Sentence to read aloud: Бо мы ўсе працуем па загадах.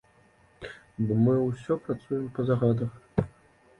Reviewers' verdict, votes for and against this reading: rejected, 1, 2